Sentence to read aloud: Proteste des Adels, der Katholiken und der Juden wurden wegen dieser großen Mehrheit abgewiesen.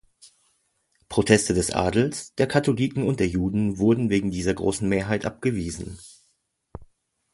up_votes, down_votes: 2, 0